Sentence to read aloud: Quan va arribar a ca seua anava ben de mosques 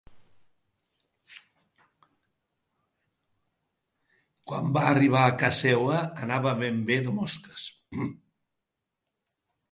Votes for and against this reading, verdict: 0, 2, rejected